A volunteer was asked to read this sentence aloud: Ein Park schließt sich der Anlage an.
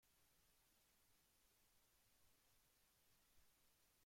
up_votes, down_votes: 0, 2